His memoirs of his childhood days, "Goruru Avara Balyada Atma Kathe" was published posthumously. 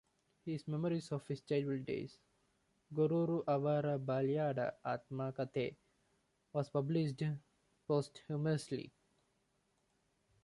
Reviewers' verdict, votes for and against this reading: accepted, 2, 1